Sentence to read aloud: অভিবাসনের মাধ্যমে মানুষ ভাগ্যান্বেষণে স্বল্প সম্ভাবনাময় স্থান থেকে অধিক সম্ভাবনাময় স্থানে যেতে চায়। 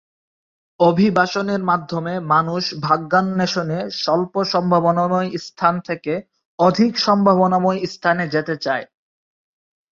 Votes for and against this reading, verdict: 0, 3, rejected